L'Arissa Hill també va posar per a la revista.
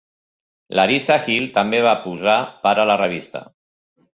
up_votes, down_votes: 2, 0